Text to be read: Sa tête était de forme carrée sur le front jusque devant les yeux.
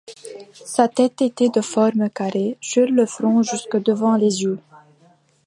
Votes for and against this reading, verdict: 2, 0, accepted